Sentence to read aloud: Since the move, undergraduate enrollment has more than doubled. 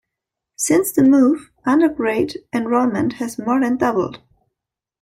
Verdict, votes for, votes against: rejected, 0, 2